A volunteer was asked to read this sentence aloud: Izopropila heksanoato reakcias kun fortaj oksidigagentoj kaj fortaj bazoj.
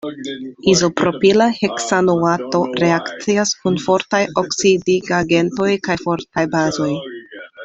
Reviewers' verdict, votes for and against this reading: accepted, 2, 0